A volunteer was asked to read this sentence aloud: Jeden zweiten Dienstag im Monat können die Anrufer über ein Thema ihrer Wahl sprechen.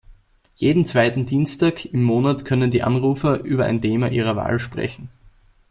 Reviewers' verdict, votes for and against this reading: accepted, 2, 0